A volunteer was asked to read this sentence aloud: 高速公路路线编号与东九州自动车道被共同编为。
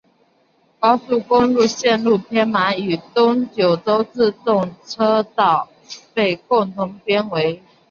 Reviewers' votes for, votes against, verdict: 0, 2, rejected